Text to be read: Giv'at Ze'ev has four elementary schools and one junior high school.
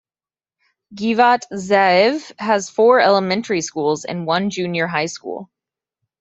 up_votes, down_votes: 2, 0